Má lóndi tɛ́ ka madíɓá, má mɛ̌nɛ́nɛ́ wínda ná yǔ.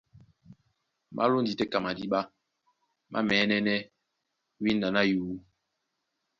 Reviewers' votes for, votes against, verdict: 2, 0, accepted